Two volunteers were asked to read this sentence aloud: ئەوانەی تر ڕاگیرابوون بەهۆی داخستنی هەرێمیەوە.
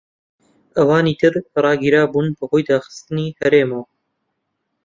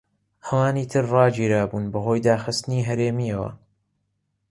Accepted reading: second